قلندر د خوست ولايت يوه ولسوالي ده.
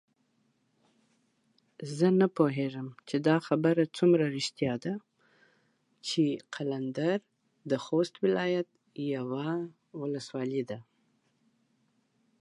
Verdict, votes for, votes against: rejected, 0, 2